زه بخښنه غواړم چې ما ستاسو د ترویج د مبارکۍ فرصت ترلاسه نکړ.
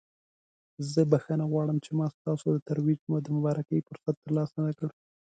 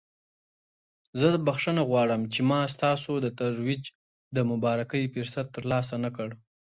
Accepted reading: second